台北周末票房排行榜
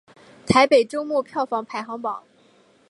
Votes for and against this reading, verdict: 4, 0, accepted